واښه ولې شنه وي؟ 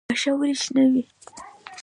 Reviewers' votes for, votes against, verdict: 2, 0, accepted